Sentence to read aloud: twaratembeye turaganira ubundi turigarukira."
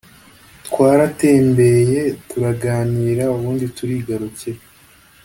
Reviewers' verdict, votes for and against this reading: accepted, 2, 0